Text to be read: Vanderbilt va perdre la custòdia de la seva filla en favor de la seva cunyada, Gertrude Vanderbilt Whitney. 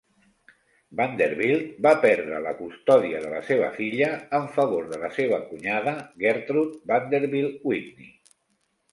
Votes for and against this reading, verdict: 2, 0, accepted